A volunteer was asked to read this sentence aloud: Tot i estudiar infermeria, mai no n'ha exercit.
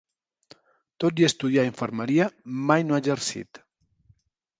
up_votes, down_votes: 0, 4